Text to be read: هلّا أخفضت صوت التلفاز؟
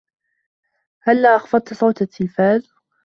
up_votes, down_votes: 3, 1